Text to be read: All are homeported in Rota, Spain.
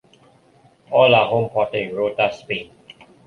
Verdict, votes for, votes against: accepted, 3, 2